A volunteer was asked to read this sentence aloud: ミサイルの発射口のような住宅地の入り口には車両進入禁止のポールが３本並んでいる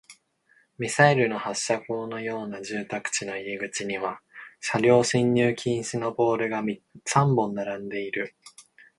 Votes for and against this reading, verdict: 0, 2, rejected